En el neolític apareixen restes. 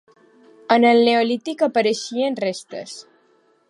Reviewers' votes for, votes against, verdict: 1, 2, rejected